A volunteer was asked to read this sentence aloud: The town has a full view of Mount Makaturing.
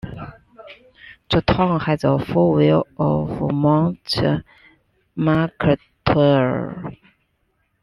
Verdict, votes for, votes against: rejected, 0, 2